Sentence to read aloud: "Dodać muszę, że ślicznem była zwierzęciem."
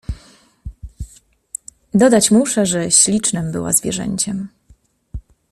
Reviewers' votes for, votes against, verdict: 2, 0, accepted